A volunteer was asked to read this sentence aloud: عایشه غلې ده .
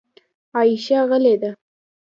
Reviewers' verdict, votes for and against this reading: rejected, 1, 2